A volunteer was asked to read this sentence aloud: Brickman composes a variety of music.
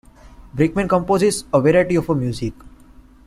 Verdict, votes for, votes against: accepted, 2, 1